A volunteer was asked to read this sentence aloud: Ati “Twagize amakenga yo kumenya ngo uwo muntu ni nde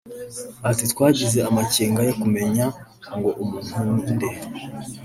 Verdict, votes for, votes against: rejected, 2, 3